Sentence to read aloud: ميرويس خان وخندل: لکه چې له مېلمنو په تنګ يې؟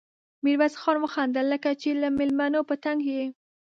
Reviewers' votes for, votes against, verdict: 2, 0, accepted